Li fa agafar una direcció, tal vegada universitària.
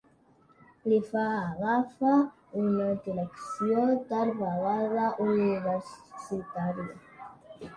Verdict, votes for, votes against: rejected, 1, 2